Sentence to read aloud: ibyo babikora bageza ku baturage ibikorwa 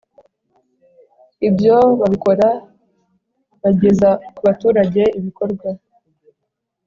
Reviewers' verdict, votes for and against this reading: accepted, 6, 0